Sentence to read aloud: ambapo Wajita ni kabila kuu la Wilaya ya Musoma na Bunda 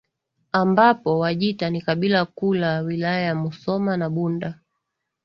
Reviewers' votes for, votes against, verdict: 3, 0, accepted